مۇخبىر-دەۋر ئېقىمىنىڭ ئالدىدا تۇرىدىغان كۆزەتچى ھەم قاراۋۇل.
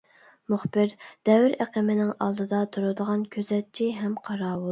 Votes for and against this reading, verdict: 2, 0, accepted